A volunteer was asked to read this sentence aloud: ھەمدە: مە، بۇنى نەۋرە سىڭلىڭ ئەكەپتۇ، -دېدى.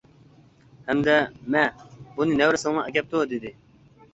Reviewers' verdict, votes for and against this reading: rejected, 0, 2